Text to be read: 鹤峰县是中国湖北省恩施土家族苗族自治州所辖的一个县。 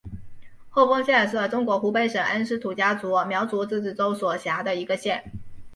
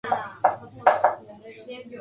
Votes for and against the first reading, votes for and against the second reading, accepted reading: 4, 1, 0, 2, first